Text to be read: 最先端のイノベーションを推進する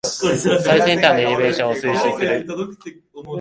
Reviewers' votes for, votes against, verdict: 1, 2, rejected